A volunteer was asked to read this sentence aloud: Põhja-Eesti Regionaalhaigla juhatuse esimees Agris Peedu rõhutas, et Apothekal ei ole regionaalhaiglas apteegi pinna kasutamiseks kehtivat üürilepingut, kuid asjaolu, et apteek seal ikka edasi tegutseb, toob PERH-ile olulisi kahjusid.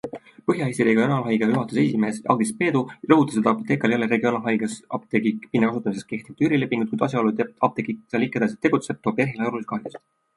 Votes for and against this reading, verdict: 2, 0, accepted